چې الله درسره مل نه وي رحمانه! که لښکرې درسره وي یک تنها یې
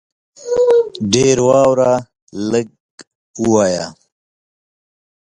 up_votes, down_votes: 0, 4